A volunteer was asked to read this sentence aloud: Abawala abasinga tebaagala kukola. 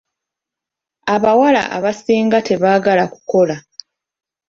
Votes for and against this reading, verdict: 2, 0, accepted